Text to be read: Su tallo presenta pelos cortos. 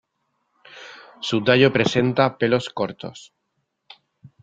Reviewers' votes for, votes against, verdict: 2, 0, accepted